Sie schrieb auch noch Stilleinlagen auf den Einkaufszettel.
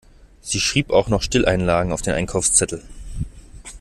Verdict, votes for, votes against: accepted, 2, 0